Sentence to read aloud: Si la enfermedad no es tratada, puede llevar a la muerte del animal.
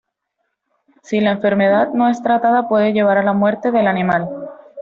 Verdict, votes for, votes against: accepted, 2, 0